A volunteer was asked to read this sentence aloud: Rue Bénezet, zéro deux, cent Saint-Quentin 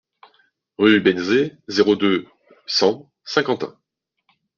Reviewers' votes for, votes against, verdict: 2, 0, accepted